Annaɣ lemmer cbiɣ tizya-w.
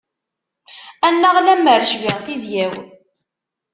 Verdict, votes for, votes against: accepted, 2, 0